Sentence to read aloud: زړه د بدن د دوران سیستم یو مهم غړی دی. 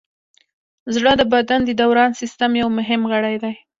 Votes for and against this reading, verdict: 3, 1, accepted